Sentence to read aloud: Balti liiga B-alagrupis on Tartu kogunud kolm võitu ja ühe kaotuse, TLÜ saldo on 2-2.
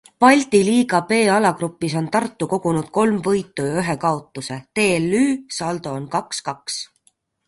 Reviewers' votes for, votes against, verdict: 0, 2, rejected